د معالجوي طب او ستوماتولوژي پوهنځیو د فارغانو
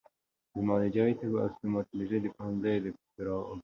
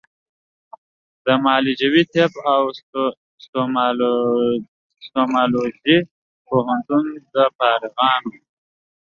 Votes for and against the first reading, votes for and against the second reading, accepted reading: 2, 1, 0, 2, first